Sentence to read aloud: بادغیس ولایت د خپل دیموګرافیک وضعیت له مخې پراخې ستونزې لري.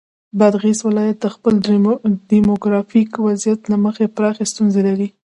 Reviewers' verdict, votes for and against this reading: rejected, 0, 2